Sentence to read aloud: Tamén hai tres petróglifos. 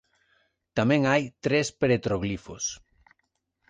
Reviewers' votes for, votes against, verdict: 0, 2, rejected